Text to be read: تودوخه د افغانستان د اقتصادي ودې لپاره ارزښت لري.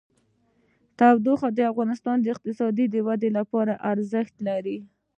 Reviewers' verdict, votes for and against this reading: accepted, 2, 0